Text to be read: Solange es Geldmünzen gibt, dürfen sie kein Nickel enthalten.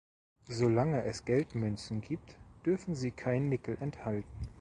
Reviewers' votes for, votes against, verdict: 2, 0, accepted